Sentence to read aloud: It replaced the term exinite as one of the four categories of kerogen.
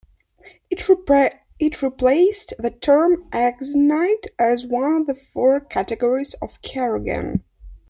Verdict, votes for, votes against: rejected, 0, 2